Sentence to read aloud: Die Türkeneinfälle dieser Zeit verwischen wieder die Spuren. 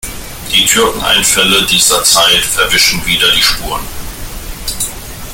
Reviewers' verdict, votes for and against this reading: accepted, 2, 1